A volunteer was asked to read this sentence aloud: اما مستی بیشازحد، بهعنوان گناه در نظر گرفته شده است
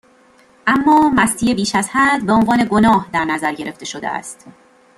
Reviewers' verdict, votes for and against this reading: accepted, 2, 0